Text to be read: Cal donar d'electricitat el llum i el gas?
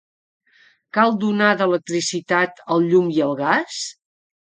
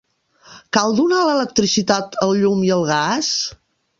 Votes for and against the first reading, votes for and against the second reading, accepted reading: 4, 0, 1, 2, first